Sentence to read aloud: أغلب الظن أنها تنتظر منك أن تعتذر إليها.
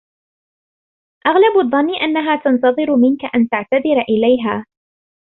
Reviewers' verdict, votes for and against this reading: accepted, 2, 0